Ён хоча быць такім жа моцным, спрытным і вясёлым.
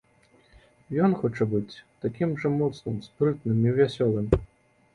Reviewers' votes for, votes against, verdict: 2, 0, accepted